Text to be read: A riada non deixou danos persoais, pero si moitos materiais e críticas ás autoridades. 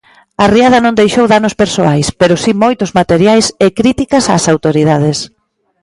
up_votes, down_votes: 2, 0